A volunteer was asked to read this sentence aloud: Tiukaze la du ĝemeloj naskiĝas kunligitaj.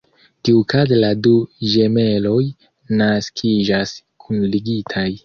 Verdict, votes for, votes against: rejected, 1, 2